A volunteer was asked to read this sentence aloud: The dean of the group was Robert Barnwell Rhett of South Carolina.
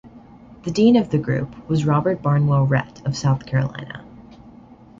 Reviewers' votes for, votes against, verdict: 2, 0, accepted